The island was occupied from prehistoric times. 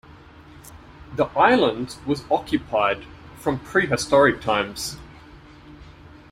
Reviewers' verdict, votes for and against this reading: accepted, 2, 0